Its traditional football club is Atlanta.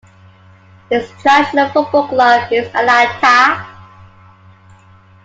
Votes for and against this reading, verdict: 0, 2, rejected